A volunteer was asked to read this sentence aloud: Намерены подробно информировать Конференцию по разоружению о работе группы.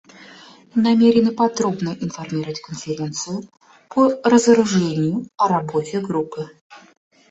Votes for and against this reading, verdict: 2, 0, accepted